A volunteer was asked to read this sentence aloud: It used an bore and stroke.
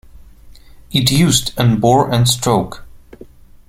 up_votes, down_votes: 2, 1